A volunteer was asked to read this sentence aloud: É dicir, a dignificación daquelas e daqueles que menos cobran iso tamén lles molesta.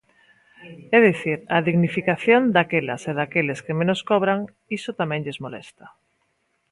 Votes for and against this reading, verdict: 1, 2, rejected